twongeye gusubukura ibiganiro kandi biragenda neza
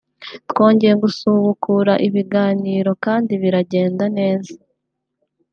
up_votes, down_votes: 0, 2